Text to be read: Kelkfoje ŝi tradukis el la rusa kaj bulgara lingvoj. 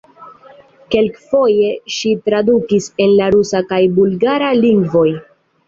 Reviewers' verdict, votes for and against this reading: accepted, 2, 0